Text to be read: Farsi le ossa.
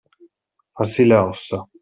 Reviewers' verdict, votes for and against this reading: accepted, 2, 0